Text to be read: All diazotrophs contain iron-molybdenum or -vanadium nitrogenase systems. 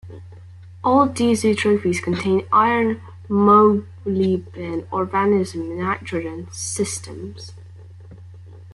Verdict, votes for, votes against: rejected, 0, 2